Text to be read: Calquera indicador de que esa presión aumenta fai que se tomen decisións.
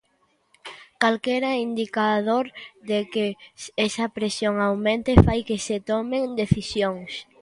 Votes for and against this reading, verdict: 1, 2, rejected